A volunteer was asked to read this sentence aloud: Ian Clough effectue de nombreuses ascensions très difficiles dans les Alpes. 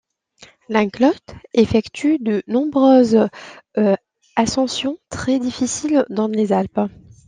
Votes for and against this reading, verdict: 1, 2, rejected